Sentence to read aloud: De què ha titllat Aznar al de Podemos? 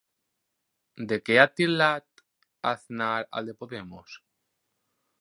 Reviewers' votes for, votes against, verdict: 2, 4, rejected